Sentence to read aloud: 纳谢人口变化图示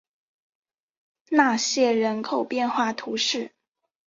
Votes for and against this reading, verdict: 4, 0, accepted